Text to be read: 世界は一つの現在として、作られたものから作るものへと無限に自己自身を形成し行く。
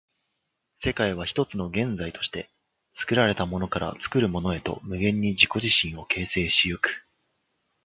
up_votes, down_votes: 2, 0